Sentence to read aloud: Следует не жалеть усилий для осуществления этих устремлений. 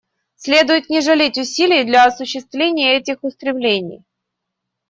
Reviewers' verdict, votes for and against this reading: accepted, 2, 0